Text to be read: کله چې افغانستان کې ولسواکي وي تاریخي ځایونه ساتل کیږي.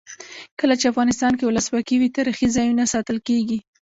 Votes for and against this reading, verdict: 1, 2, rejected